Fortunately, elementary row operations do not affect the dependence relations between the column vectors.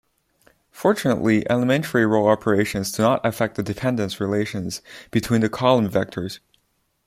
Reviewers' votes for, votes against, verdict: 2, 1, accepted